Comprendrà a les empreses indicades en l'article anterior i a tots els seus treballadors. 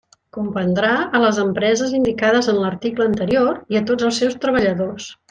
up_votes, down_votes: 3, 1